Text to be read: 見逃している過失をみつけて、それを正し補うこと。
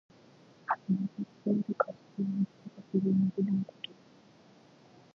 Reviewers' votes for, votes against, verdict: 1, 2, rejected